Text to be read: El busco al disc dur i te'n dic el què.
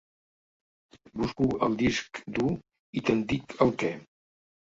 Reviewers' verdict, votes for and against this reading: rejected, 1, 2